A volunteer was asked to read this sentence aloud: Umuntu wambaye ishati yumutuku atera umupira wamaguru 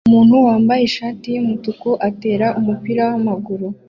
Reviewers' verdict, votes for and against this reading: accepted, 2, 0